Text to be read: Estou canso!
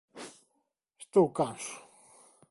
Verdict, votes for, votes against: accepted, 2, 0